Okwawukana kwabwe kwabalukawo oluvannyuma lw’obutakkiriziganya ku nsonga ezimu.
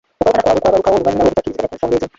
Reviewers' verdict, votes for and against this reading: rejected, 0, 2